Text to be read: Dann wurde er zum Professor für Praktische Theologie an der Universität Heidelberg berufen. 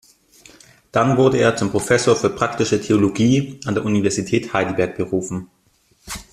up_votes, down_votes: 2, 0